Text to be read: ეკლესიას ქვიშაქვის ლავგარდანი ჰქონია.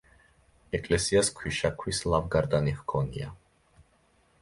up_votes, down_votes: 2, 0